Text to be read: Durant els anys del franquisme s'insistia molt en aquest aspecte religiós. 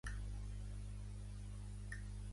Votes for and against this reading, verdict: 0, 2, rejected